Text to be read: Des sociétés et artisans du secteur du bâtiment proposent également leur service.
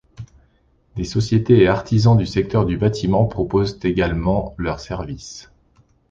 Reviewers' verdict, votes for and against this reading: accepted, 2, 0